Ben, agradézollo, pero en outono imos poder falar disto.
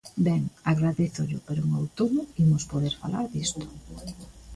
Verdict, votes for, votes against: rejected, 1, 2